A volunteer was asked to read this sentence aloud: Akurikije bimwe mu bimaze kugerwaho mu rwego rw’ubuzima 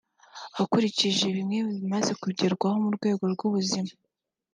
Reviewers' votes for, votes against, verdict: 3, 0, accepted